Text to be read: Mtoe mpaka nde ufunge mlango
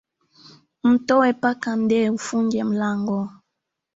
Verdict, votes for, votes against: accepted, 2, 1